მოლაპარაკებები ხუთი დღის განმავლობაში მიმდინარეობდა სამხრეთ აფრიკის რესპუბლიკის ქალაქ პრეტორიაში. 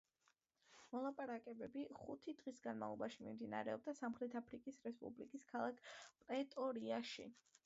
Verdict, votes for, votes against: accepted, 2, 0